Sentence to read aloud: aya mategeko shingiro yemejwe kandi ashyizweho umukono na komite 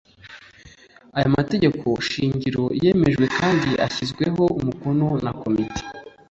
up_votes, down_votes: 2, 0